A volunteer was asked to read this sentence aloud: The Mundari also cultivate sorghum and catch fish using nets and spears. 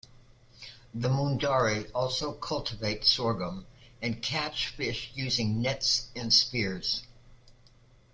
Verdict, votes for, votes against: accepted, 2, 0